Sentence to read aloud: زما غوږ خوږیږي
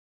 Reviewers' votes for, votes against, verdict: 1, 2, rejected